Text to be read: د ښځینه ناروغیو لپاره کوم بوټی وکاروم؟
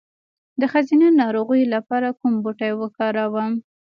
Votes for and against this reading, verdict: 0, 2, rejected